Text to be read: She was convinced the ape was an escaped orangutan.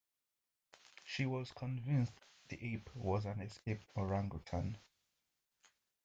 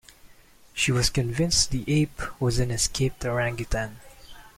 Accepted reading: second